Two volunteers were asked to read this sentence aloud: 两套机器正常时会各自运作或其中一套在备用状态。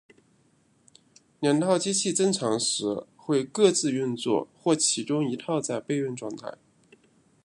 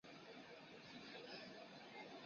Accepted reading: first